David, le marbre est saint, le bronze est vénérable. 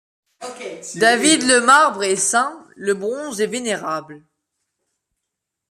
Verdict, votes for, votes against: accepted, 2, 0